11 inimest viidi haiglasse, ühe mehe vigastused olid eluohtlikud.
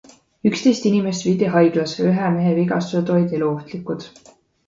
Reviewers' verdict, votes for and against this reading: rejected, 0, 2